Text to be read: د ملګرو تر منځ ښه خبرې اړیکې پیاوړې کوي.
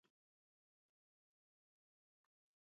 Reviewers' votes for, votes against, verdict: 0, 2, rejected